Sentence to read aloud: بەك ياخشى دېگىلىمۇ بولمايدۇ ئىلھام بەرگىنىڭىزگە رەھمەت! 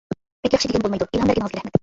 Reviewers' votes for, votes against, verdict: 0, 2, rejected